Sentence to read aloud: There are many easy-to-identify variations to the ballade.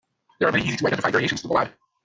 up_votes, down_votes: 1, 2